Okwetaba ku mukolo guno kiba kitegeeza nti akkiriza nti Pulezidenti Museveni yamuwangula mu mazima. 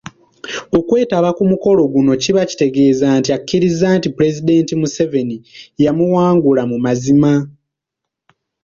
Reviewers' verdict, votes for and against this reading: accepted, 2, 0